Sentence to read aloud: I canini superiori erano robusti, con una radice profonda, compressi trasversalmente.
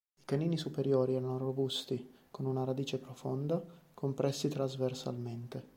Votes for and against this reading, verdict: 2, 0, accepted